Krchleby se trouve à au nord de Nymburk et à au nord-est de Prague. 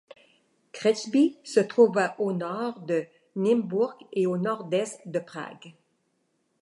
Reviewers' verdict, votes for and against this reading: rejected, 1, 2